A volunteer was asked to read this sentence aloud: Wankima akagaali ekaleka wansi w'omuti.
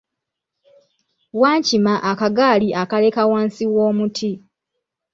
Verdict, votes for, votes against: rejected, 0, 2